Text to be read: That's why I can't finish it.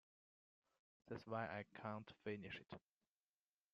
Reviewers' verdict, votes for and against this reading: rejected, 0, 2